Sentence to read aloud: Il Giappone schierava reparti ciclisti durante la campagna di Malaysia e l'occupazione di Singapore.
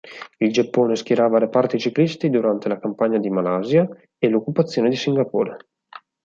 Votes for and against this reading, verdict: 2, 4, rejected